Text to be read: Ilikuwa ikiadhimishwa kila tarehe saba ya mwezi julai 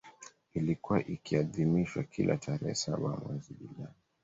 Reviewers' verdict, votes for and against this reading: rejected, 1, 2